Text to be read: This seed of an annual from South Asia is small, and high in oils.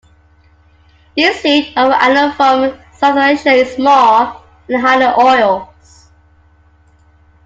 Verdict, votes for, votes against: accepted, 2, 1